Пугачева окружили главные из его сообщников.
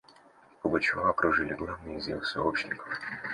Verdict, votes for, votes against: rejected, 1, 2